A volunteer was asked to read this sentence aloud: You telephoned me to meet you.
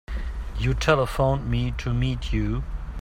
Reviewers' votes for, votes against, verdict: 2, 0, accepted